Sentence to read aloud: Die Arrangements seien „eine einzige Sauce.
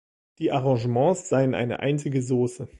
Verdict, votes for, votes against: accepted, 2, 0